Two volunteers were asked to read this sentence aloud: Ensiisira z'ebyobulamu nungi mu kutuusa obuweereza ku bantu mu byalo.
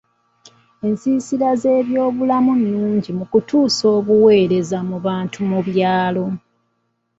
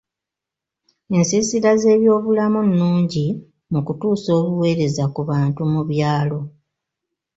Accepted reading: second